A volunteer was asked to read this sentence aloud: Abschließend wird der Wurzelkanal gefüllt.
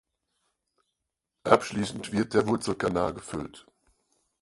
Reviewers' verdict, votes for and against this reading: rejected, 2, 4